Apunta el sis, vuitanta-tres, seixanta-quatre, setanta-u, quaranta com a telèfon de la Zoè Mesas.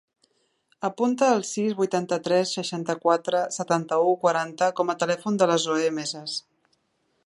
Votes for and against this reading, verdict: 2, 0, accepted